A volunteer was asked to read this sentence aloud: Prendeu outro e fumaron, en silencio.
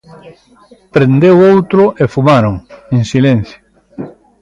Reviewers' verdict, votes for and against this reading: accepted, 2, 0